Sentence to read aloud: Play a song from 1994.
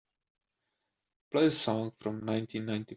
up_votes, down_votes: 0, 2